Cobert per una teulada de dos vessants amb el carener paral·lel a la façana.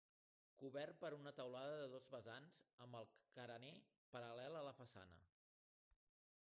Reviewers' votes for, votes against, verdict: 2, 0, accepted